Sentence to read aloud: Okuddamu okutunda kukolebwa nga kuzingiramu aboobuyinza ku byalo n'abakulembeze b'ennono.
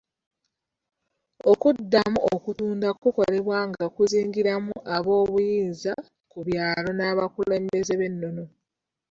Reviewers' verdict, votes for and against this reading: rejected, 1, 2